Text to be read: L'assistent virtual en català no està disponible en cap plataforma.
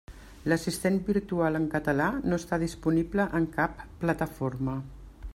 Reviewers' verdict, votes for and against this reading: accepted, 3, 0